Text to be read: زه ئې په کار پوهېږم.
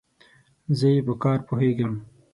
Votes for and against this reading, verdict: 6, 0, accepted